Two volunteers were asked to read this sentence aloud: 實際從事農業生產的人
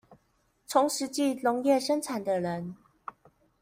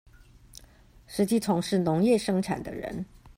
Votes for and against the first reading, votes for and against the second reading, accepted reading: 1, 2, 2, 0, second